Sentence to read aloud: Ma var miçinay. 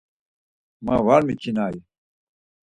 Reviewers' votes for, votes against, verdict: 4, 2, accepted